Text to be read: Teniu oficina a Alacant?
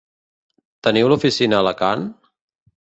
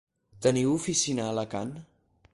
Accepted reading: second